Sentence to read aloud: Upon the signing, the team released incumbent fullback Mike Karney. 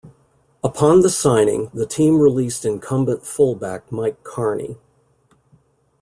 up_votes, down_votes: 2, 0